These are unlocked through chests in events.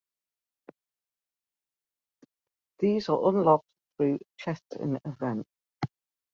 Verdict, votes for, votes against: accepted, 2, 1